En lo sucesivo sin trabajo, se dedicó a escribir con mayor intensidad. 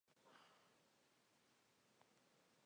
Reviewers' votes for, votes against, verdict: 0, 2, rejected